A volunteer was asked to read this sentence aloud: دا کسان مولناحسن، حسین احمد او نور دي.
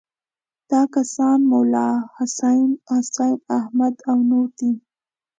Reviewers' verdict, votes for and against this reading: accepted, 2, 0